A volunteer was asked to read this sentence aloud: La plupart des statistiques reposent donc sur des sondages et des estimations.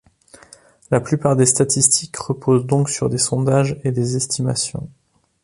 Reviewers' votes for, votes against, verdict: 2, 0, accepted